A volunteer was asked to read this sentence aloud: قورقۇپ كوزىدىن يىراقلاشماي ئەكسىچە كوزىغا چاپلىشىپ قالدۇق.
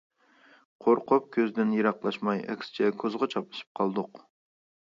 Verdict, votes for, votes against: rejected, 0, 2